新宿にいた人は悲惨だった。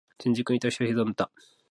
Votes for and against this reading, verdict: 3, 4, rejected